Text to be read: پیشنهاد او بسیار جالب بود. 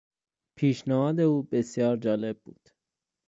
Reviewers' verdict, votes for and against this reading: accepted, 2, 0